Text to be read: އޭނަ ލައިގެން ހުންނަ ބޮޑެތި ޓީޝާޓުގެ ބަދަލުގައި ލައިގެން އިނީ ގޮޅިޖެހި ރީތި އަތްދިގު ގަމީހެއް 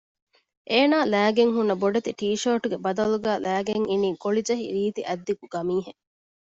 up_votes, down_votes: 2, 0